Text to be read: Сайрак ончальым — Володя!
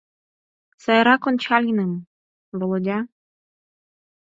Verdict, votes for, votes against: accepted, 4, 0